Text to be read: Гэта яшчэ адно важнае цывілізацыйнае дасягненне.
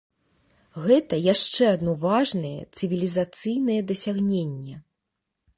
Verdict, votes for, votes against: accepted, 2, 0